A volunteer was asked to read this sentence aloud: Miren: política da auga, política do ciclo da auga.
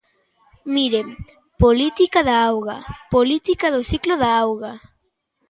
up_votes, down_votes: 1, 2